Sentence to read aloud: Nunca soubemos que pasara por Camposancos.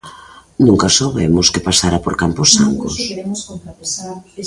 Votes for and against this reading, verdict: 1, 2, rejected